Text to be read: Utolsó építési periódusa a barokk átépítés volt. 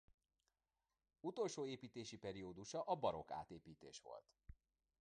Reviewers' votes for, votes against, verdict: 1, 2, rejected